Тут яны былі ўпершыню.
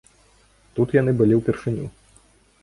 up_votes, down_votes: 2, 0